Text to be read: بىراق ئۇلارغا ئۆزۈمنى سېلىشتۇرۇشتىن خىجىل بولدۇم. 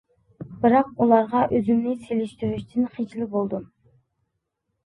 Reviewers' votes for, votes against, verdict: 2, 0, accepted